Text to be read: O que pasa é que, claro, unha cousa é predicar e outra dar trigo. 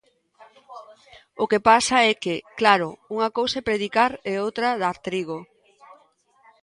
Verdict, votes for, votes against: rejected, 0, 2